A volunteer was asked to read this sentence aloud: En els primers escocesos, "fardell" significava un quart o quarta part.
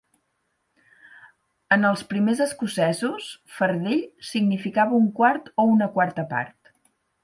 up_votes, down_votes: 4, 8